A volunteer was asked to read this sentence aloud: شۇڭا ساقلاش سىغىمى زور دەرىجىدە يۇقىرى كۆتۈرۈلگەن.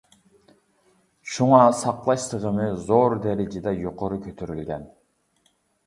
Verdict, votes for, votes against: accepted, 2, 0